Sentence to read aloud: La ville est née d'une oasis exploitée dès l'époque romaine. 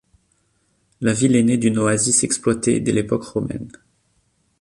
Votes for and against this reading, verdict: 2, 0, accepted